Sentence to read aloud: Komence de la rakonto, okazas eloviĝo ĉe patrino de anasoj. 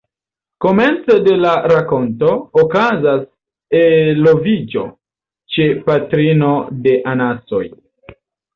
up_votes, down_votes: 2, 0